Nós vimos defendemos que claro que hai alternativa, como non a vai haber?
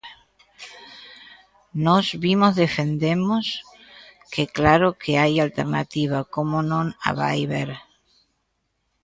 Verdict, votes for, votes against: rejected, 0, 2